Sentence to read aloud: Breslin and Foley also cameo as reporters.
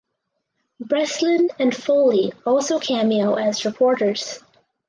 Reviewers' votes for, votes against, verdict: 4, 0, accepted